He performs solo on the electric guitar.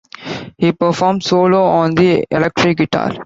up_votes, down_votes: 2, 0